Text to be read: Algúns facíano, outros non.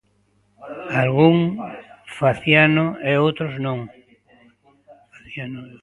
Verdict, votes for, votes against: rejected, 0, 2